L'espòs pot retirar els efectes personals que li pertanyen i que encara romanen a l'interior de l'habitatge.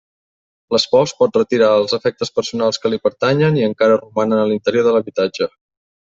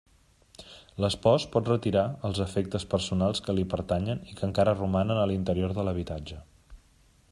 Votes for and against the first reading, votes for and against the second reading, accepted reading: 1, 4, 3, 0, second